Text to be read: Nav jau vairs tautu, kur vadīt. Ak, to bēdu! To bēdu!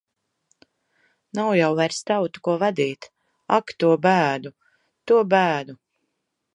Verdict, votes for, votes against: rejected, 1, 2